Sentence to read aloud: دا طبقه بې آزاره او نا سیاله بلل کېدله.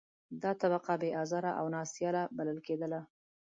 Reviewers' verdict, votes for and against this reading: accepted, 2, 0